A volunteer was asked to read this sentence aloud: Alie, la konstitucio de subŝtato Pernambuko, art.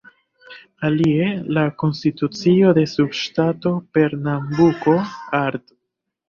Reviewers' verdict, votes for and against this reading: rejected, 1, 2